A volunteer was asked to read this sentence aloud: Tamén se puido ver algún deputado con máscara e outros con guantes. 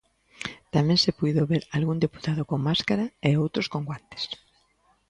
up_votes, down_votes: 2, 0